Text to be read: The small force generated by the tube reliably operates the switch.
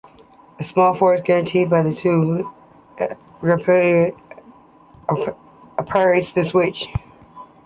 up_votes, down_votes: 0, 2